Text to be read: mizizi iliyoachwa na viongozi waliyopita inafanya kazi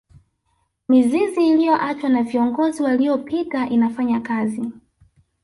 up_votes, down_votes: 1, 2